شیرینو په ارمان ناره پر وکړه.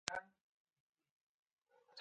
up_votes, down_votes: 2, 12